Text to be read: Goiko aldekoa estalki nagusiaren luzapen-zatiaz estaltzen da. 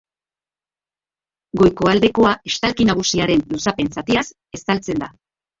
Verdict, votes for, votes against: accepted, 2, 1